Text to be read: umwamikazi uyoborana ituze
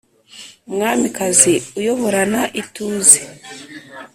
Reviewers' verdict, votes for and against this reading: accepted, 2, 0